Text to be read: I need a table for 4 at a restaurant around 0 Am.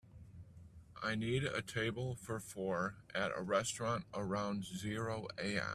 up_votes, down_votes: 0, 2